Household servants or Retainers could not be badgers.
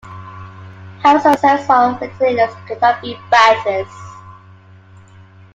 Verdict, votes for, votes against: rejected, 0, 2